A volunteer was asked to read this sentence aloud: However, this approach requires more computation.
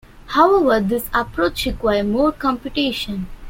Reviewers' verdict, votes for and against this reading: rejected, 1, 2